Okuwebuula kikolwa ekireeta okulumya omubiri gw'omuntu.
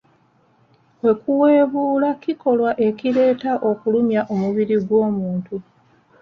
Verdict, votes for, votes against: accepted, 2, 1